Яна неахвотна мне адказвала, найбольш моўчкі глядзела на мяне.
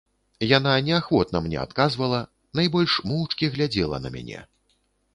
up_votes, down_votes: 2, 0